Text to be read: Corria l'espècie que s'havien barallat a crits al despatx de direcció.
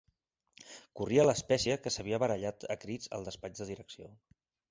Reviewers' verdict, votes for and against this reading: accepted, 2, 0